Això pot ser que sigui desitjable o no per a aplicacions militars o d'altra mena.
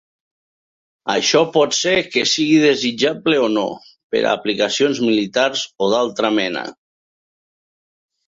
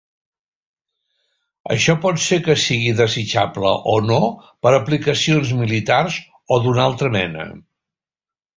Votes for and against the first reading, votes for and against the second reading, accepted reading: 2, 0, 0, 3, first